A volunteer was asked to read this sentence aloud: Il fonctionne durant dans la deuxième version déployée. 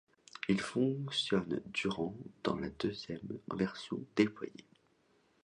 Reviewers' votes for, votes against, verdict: 2, 1, accepted